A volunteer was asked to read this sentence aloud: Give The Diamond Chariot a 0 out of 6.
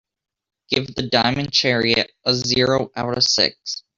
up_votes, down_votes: 0, 2